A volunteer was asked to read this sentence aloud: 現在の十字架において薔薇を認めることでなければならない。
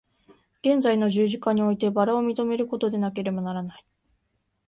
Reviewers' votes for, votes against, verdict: 2, 0, accepted